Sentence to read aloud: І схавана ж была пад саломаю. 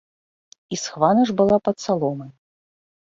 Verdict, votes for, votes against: accepted, 2, 1